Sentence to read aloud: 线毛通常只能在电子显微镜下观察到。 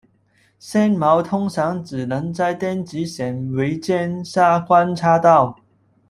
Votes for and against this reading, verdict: 1, 2, rejected